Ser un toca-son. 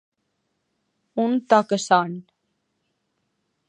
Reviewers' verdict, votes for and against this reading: rejected, 0, 2